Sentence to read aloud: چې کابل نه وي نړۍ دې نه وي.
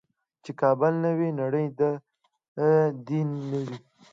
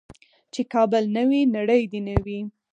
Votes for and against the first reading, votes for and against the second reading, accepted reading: 1, 2, 4, 0, second